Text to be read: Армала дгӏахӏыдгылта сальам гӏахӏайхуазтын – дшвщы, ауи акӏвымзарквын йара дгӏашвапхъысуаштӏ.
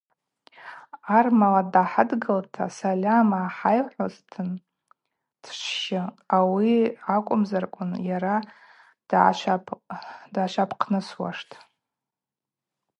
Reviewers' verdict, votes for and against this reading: rejected, 2, 2